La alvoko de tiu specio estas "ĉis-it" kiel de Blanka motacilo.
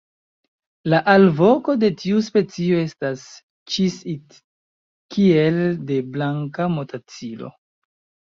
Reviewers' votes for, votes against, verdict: 2, 1, accepted